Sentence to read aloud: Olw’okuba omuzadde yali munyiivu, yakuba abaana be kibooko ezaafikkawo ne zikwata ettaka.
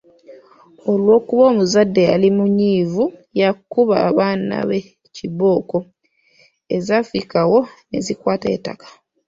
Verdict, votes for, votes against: rejected, 1, 2